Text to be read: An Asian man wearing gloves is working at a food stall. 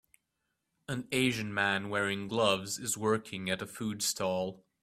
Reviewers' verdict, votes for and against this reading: accepted, 2, 0